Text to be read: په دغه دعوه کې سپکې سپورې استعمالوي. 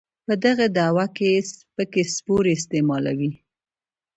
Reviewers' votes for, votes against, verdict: 1, 2, rejected